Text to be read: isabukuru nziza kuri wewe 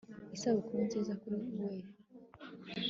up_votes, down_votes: 2, 1